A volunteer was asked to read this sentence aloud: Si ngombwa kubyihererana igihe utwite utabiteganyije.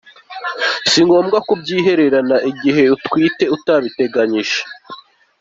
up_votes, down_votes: 2, 0